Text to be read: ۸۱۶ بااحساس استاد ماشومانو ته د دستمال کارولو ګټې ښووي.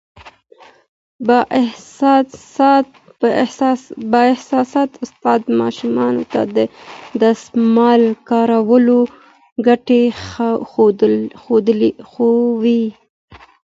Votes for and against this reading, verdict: 0, 2, rejected